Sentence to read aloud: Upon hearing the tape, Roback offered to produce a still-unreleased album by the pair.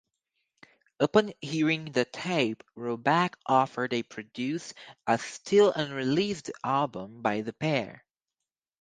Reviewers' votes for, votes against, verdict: 2, 2, rejected